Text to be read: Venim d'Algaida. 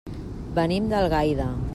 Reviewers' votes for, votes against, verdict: 3, 0, accepted